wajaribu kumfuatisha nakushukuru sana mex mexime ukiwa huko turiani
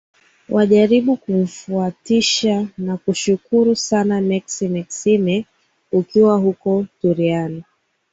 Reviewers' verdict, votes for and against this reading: accepted, 2, 0